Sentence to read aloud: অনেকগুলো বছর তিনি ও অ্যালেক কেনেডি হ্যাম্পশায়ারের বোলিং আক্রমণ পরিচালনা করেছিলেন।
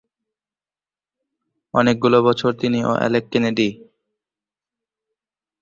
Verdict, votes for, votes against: rejected, 0, 2